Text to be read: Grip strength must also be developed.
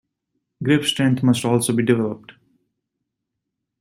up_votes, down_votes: 1, 2